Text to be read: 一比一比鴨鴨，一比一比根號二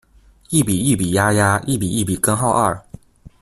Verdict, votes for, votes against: accepted, 2, 0